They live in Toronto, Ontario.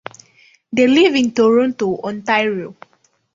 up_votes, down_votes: 2, 0